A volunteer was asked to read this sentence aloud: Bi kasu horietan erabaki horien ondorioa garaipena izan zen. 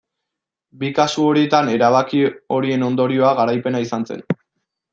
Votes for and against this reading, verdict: 2, 0, accepted